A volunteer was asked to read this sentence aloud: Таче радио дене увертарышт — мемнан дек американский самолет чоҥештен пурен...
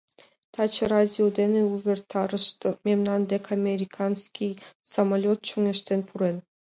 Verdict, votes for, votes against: accepted, 2, 0